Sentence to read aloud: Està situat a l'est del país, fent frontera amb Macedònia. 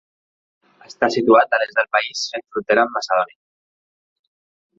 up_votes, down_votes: 1, 2